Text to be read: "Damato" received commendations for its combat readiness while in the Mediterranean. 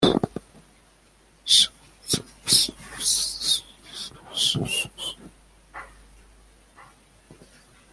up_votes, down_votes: 0, 2